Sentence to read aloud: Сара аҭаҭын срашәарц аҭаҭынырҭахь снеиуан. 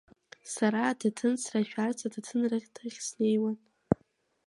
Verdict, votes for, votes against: accepted, 2, 0